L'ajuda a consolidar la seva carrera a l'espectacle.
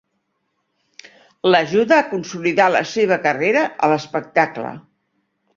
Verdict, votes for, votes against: accepted, 3, 0